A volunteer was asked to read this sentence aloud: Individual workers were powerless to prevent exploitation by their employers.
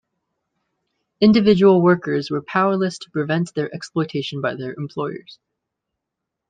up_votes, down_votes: 0, 2